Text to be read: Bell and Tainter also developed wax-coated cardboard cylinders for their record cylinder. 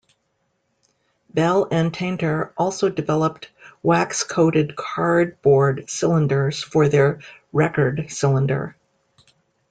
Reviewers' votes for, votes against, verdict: 2, 0, accepted